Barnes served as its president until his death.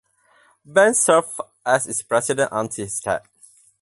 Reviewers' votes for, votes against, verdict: 0, 4, rejected